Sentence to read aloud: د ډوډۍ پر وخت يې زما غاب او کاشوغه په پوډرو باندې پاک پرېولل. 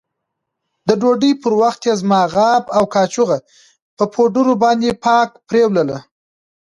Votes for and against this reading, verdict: 2, 0, accepted